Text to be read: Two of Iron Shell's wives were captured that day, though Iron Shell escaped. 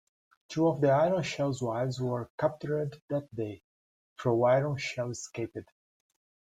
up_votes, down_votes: 0, 2